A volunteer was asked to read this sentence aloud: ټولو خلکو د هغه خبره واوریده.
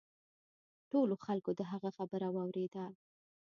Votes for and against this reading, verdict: 0, 2, rejected